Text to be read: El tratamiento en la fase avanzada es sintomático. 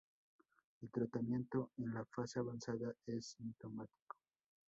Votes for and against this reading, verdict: 2, 0, accepted